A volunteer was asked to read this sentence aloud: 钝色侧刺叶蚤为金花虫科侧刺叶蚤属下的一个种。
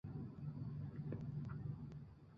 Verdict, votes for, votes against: accepted, 2, 1